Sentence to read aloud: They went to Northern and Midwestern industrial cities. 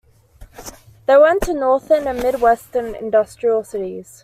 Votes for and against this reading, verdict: 2, 0, accepted